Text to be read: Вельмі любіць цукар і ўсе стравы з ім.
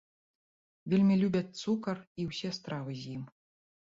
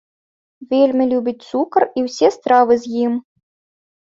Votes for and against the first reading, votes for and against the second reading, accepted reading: 1, 2, 3, 0, second